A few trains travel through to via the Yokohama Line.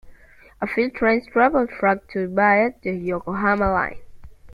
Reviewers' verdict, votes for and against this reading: accepted, 2, 0